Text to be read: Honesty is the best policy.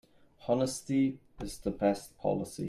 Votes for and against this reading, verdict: 3, 0, accepted